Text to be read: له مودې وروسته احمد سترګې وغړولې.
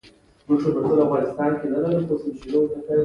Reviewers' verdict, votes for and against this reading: rejected, 1, 2